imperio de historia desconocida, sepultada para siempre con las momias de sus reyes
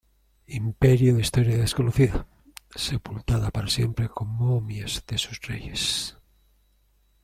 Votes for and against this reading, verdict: 0, 2, rejected